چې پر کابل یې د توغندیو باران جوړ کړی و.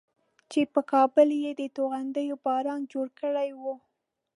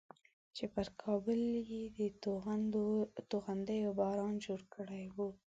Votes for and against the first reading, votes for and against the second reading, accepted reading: 2, 0, 1, 2, first